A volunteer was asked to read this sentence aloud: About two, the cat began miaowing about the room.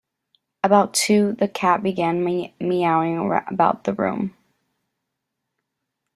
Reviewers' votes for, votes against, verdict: 0, 2, rejected